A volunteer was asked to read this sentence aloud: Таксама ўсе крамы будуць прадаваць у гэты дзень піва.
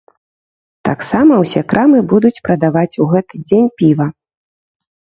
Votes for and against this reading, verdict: 2, 0, accepted